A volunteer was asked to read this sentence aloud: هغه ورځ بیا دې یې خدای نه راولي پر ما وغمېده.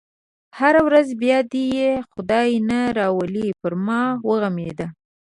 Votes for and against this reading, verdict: 1, 2, rejected